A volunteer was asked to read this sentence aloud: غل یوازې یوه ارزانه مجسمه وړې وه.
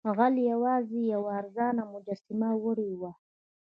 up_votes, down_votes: 1, 2